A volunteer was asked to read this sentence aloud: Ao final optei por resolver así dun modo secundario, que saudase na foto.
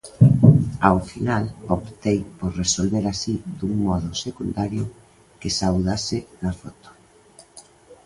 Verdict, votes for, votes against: accepted, 2, 0